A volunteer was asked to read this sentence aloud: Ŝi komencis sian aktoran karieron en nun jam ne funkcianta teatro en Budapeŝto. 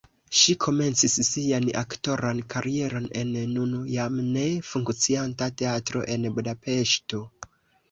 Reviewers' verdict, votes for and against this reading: accepted, 2, 0